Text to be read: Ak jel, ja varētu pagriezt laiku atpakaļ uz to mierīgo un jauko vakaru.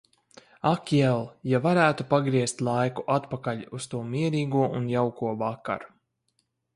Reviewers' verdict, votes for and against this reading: accepted, 4, 0